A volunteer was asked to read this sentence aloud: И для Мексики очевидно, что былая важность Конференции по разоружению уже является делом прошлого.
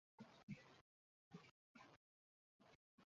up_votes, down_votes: 0, 2